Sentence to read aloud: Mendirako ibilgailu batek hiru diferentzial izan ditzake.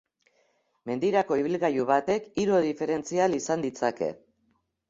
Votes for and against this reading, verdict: 3, 0, accepted